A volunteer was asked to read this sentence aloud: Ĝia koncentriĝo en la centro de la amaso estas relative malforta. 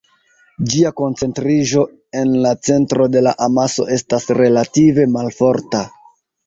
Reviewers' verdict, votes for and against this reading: accepted, 2, 1